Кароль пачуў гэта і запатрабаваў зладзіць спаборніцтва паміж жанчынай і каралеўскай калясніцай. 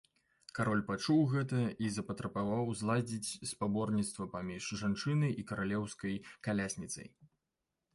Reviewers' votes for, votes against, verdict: 0, 2, rejected